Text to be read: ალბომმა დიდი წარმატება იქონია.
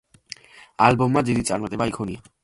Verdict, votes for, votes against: accepted, 2, 0